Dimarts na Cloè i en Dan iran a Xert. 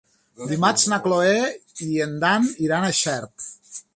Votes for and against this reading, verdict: 3, 0, accepted